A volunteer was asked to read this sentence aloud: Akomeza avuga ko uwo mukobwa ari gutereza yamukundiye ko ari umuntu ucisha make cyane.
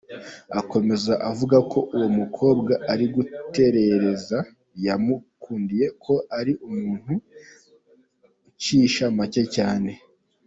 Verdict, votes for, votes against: accepted, 2, 0